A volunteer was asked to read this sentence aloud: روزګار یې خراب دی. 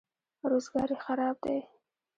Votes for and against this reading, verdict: 1, 2, rejected